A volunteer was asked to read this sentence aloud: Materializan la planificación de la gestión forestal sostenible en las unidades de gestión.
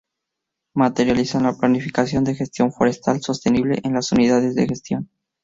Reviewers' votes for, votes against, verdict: 0, 2, rejected